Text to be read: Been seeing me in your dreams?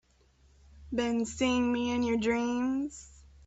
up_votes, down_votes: 2, 0